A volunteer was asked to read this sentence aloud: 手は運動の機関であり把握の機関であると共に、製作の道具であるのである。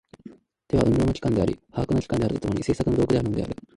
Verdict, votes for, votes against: rejected, 6, 7